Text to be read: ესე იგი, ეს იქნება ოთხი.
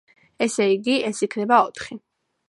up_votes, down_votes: 2, 0